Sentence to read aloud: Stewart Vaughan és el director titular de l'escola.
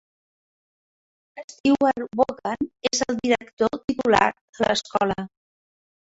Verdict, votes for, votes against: rejected, 0, 2